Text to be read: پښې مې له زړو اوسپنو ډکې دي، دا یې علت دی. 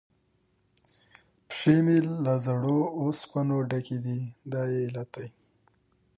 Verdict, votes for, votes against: rejected, 0, 2